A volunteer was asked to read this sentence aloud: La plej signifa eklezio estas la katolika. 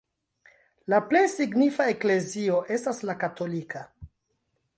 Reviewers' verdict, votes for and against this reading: accepted, 3, 0